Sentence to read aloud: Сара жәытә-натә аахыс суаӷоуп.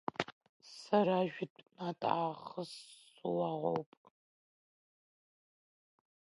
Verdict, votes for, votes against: accepted, 2, 1